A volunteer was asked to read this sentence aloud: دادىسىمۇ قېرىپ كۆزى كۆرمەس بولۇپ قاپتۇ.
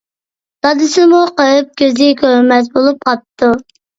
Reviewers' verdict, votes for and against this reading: accepted, 2, 0